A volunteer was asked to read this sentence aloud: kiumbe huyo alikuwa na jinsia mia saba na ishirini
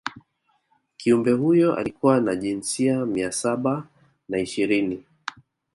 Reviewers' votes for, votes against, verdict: 3, 0, accepted